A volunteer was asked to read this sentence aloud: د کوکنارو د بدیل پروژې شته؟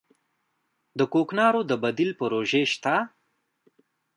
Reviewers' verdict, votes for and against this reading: accepted, 2, 0